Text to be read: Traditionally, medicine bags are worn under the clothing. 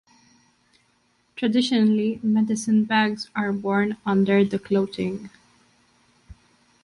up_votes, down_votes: 2, 0